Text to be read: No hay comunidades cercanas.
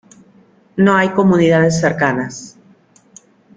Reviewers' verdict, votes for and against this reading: accepted, 2, 0